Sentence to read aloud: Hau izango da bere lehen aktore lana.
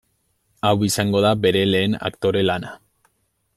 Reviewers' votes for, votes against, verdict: 2, 0, accepted